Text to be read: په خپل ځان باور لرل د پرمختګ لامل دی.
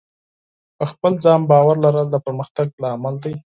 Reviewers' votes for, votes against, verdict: 4, 0, accepted